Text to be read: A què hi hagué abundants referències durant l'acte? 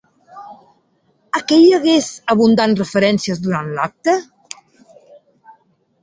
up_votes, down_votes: 1, 2